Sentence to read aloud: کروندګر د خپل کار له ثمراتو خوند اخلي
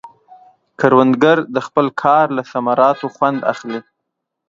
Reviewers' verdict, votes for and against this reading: accepted, 2, 0